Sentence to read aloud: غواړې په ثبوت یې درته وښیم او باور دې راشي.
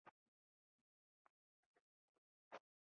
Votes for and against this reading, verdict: 1, 2, rejected